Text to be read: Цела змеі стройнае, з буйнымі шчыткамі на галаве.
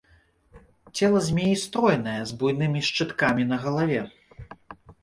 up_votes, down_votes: 2, 0